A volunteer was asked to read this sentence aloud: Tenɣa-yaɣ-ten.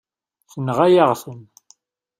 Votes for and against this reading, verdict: 2, 0, accepted